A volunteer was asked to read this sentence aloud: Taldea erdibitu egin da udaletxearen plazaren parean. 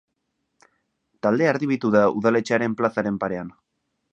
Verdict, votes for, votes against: rejected, 0, 2